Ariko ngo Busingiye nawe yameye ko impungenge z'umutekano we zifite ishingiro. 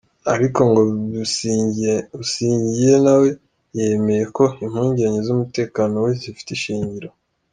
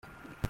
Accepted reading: first